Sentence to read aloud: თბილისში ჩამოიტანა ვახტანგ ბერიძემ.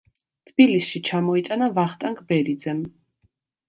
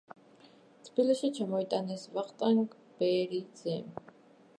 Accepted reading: first